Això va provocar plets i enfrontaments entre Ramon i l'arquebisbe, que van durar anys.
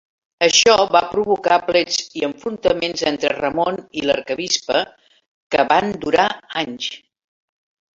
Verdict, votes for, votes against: rejected, 0, 2